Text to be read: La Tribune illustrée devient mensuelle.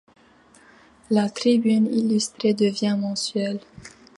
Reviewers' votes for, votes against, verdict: 2, 0, accepted